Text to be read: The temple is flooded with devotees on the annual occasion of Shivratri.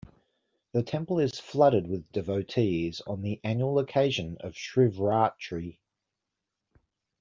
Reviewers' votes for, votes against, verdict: 2, 0, accepted